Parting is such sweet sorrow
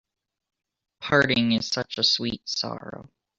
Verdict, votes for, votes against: rejected, 0, 2